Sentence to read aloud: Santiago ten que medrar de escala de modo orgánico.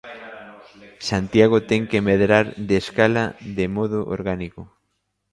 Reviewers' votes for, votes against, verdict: 1, 2, rejected